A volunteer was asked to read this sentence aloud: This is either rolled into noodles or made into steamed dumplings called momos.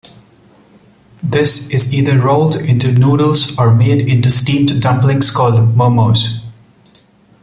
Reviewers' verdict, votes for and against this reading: accepted, 2, 0